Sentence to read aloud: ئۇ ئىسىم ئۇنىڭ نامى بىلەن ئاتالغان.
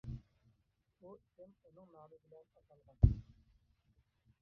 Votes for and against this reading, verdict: 0, 2, rejected